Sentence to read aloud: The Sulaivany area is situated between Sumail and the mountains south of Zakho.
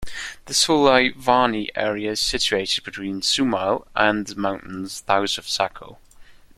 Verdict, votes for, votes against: rejected, 1, 2